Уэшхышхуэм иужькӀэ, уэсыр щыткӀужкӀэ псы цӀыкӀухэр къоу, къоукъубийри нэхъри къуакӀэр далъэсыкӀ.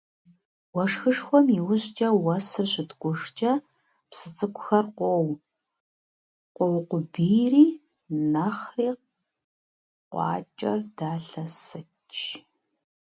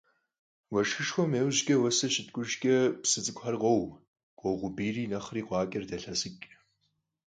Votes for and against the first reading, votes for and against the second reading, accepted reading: 0, 2, 4, 2, second